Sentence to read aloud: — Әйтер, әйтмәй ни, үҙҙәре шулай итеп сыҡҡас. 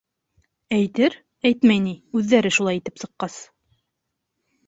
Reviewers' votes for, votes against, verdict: 2, 0, accepted